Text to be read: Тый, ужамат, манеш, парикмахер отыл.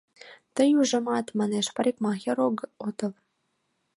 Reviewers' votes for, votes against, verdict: 1, 2, rejected